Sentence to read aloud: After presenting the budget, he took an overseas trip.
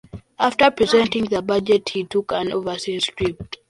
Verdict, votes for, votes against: rejected, 0, 2